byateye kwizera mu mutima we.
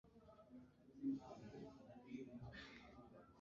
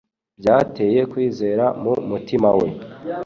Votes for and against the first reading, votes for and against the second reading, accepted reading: 1, 2, 3, 0, second